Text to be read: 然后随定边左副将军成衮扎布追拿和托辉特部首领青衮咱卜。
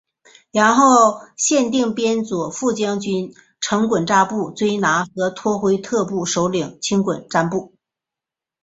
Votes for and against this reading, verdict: 0, 2, rejected